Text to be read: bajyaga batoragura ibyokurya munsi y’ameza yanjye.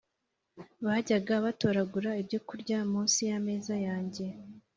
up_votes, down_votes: 2, 0